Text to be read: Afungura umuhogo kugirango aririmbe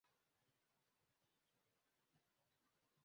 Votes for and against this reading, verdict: 0, 2, rejected